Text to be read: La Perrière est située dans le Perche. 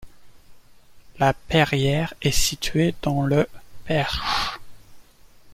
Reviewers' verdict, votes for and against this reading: accepted, 2, 0